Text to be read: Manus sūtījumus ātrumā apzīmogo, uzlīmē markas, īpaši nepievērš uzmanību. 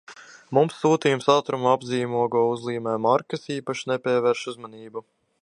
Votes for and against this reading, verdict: 1, 2, rejected